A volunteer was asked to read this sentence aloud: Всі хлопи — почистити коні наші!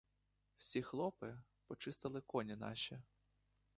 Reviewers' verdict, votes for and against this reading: rejected, 1, 2